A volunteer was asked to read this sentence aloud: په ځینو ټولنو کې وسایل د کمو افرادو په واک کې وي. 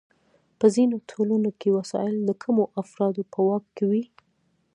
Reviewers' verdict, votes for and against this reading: accepted, 2, 0